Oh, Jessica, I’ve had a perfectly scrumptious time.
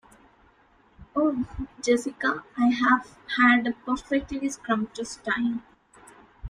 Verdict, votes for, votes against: rejected, 1, 2